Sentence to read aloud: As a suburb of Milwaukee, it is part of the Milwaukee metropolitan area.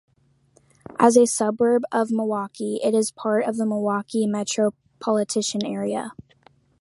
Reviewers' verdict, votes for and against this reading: rejected, 0, 2